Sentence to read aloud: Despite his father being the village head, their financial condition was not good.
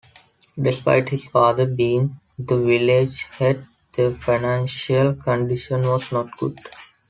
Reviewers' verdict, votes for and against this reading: accepted, 2, 0